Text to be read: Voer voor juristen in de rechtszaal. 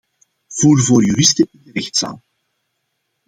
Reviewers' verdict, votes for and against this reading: rejected, 0, 2